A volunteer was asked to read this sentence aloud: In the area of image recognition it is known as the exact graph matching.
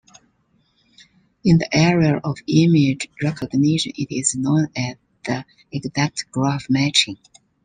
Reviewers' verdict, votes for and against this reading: rejected, 1, 2